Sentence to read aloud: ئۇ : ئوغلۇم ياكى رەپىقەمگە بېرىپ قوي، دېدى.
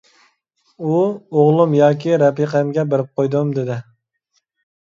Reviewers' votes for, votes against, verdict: 0, 2, rejected